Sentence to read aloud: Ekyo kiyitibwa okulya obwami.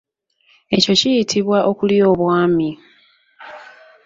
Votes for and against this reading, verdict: 1, 2, rejected